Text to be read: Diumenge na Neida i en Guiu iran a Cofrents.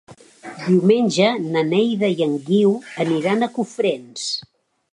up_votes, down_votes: 2, 1